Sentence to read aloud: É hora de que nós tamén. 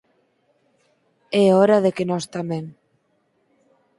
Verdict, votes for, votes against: accepted, 4, 0